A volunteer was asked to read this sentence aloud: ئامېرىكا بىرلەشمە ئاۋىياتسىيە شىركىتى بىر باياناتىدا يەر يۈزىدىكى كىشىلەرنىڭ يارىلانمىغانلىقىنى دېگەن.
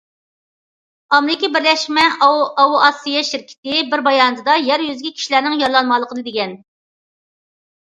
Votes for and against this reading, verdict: 0, 2, rejected